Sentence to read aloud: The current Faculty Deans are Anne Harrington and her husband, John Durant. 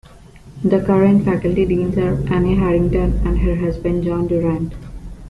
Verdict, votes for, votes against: accepted, 2, 0